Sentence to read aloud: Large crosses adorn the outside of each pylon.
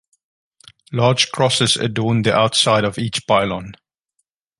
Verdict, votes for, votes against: accepted, 2, 0